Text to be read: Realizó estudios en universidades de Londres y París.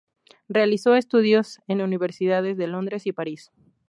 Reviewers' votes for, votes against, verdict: 2, 0, accepted